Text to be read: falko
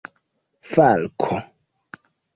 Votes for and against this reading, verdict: 2, 1, accepted